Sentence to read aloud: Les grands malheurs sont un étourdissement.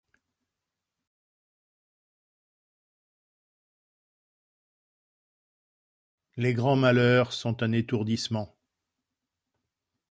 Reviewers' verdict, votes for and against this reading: accepted, 2, 0